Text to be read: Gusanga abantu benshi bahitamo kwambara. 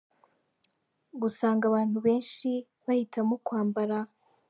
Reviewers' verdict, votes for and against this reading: accepted, 2, 0